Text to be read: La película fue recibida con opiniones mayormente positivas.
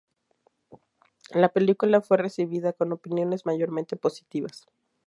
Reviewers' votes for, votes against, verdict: 2, 0, accepted